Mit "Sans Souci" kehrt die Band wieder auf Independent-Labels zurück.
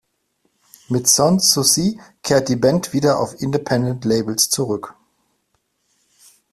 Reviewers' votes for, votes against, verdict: 2, 0, accepted